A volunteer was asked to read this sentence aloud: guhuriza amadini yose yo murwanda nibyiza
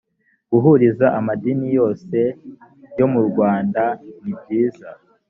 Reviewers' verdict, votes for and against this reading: accepted, 3, 0